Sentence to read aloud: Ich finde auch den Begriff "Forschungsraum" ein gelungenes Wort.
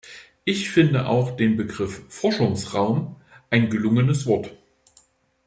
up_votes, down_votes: 2, 0